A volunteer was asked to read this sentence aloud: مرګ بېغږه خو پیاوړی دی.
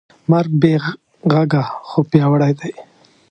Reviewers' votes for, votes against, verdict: 2, 0, accepted